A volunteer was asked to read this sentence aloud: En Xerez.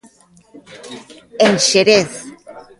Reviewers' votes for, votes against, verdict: 2, 1, accepted